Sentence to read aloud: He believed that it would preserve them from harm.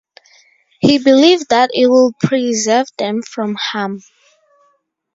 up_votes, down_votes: 2, 0